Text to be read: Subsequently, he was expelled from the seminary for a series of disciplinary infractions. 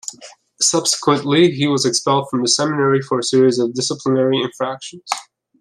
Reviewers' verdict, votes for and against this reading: accepted, 2, 0